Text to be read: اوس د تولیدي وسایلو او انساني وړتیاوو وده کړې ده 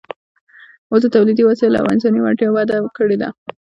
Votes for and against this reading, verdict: 2, 0, accepted